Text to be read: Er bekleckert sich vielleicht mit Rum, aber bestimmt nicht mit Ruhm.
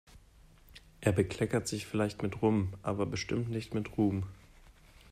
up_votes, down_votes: 2, 0